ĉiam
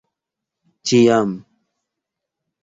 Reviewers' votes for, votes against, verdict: 2, 1, accepted